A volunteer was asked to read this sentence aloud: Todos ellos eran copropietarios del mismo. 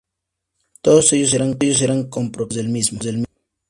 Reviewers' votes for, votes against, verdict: 0, 2, rejected